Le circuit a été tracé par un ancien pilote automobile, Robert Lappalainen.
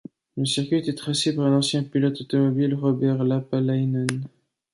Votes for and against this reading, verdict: 1, 2, rejected